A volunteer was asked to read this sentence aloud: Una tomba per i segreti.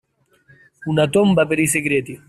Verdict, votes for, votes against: accepted, 2, 0